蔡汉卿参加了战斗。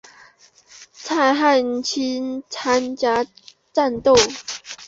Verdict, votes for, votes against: rejected, 0, 3